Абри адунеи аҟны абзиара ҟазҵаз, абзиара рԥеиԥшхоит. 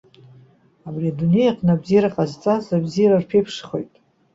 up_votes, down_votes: 2, 1